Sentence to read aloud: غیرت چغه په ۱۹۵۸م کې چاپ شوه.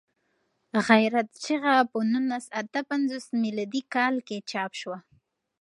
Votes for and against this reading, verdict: 0, 2, rejected